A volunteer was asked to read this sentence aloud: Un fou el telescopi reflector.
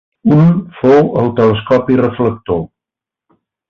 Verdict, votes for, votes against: accepted, 2, 0